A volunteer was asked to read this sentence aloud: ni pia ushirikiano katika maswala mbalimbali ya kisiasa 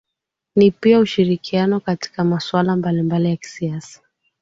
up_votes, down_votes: 2, 0